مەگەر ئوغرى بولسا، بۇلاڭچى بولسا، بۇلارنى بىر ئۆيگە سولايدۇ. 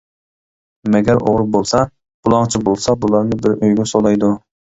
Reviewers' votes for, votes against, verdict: 2, 0, accepted